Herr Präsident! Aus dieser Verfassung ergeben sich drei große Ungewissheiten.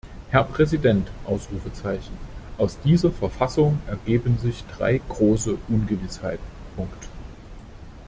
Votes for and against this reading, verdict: 0, 2, rejected